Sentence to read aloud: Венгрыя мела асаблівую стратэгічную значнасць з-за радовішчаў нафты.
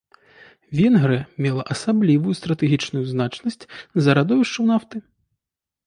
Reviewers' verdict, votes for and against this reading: accepted, 2, 0